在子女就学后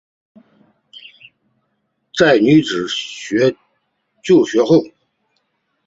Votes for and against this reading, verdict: 0, 2, rejected